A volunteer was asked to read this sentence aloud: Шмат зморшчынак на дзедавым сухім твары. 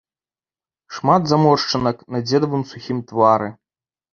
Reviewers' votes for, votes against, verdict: 1, 2, rejected